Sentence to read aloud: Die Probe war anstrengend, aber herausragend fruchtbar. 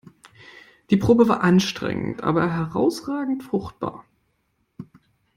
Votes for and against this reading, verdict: 2, 0, accepted